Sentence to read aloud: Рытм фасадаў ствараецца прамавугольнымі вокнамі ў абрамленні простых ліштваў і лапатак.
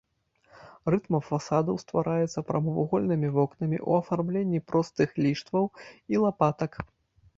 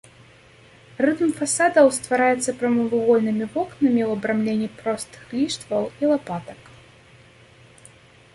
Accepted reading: second